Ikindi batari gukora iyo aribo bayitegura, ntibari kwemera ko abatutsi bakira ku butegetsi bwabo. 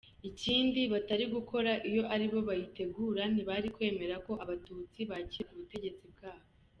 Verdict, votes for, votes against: accepted, 2, 1